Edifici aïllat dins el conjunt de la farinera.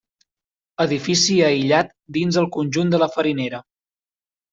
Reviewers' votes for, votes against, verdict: 3, 0, accepted